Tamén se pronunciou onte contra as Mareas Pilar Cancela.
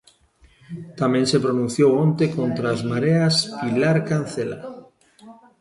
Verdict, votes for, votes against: accepted, 2, 0